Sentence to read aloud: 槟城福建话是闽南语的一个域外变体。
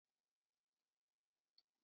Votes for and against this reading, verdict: 0, 2, rejected